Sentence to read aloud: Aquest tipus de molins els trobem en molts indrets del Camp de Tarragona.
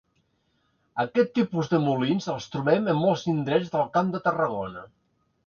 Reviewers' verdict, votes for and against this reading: accepted, 2, 0